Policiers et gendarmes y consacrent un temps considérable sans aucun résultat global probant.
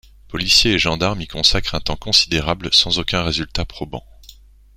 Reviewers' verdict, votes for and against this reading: rejected, 0, 2